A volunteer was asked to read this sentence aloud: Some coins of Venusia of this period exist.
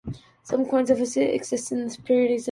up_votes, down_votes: 0, 2